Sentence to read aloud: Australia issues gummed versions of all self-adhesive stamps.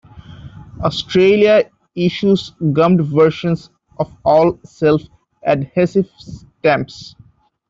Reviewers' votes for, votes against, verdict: 1, 2, rejected